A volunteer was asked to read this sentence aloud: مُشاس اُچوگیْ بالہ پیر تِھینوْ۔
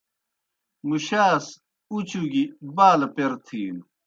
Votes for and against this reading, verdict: 2, 0, accepted